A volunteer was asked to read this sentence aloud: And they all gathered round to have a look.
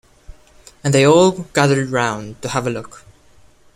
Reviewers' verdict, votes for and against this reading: accepted, 2, 0